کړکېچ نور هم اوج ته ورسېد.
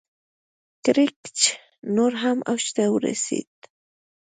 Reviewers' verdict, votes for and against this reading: rejected, 1, 2